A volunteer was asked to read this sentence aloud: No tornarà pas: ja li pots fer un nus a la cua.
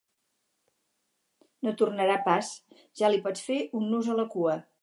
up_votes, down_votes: 4, 0